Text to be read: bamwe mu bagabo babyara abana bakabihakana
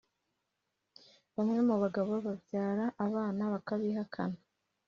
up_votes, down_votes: 2, 0